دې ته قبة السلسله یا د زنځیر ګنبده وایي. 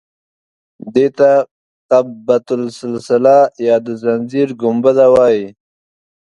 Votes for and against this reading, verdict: 2, 0, accepted